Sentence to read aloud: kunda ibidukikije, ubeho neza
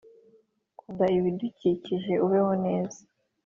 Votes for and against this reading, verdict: 2, 0, accepted